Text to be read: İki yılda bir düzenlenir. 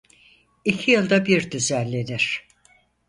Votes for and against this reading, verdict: 4, 0, accepted